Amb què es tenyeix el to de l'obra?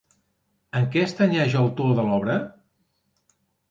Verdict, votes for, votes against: rejected, 0, 2